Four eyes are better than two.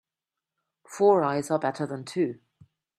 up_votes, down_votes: 2, 0